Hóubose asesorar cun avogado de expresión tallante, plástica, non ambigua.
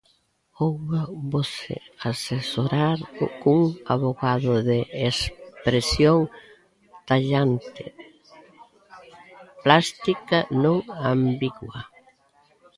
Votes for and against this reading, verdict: 0, 2, rejected